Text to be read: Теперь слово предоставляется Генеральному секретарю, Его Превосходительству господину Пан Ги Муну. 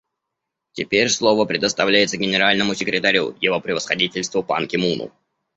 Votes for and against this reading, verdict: 0, 2, rejected